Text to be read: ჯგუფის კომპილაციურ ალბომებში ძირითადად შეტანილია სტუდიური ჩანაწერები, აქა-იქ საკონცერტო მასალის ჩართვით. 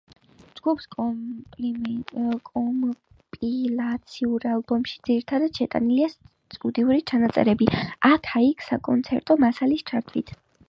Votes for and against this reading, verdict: 1, 5, rejected